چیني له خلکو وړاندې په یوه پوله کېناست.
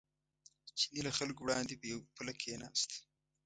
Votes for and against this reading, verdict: 0, 2, rejected